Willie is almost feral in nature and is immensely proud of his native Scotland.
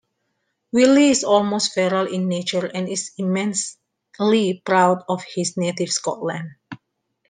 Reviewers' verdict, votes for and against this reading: rejected, 0, 2